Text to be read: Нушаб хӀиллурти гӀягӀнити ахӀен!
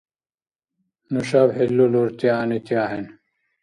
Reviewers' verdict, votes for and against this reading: rejected, 0, 2